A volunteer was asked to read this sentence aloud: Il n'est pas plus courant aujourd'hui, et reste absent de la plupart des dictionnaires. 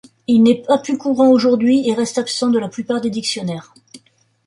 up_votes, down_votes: 2, 1